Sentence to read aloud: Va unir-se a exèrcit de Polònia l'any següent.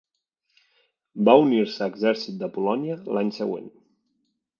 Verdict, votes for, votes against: accepted, 3, 1